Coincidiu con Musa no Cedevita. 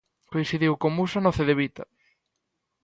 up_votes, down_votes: 2, 0